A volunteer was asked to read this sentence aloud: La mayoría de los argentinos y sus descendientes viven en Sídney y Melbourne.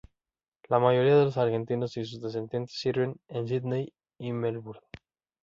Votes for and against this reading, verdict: 1, 2, rejected